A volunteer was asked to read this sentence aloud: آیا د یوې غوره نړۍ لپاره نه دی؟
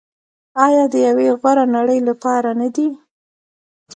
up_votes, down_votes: 1, 2